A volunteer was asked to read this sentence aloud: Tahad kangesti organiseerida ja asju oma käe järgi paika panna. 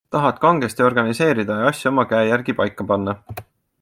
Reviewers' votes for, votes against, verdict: 2, 1, accepted